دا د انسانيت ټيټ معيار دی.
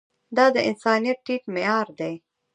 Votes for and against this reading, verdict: 1, 2, rejected